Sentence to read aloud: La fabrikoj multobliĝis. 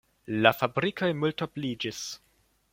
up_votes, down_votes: 2, 0